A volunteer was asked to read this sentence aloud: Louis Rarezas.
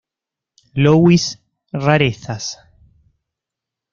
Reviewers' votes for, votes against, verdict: 2, 0, accepted